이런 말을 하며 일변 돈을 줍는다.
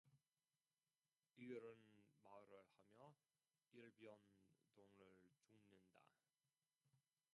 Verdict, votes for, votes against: rejected, 0, 2